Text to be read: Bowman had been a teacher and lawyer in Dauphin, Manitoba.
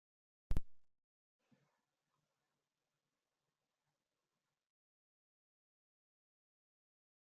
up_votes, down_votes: 0, 2